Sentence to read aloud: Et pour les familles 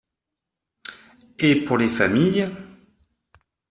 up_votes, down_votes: 2, 0